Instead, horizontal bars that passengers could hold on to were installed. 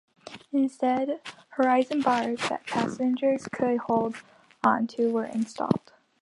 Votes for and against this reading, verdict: 1, 2, rejected